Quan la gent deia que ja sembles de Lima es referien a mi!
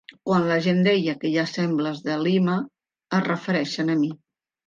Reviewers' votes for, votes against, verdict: 1, 2, rejected